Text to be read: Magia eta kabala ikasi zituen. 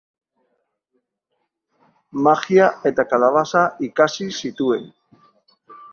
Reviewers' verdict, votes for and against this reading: rejected, 0, 2